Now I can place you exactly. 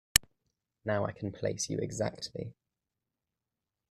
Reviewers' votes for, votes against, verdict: 2, 0, accepted